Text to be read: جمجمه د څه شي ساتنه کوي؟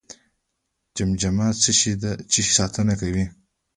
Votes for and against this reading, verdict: 1, 2, rejected